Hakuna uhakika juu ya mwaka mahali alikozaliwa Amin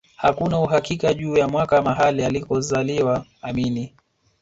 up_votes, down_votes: 2, 1